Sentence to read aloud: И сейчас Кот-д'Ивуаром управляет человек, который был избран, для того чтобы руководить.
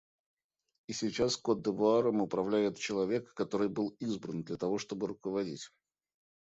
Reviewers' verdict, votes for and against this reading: accepted, 2, 0